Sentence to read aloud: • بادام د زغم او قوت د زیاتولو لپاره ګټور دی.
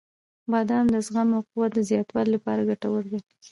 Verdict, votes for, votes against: rejected, 1, 2